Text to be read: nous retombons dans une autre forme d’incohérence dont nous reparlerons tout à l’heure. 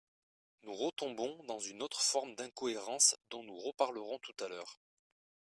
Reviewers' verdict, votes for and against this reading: accepted, 2, 0